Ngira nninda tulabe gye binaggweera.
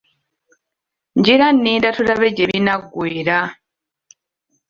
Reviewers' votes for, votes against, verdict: 2, 1, accepted